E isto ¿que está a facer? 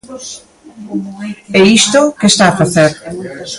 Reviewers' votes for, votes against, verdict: 2, 0, accepted